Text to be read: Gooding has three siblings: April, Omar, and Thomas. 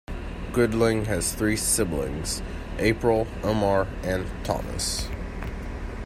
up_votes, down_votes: 1, 2